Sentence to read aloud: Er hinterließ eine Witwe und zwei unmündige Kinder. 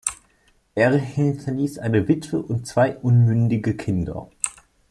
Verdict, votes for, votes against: accepted, 2, 0